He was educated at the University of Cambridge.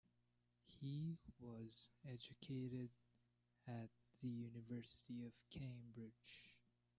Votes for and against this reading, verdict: 2, 1, accepted